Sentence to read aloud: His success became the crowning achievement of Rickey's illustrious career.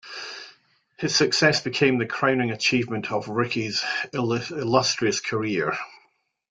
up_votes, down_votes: 1, 2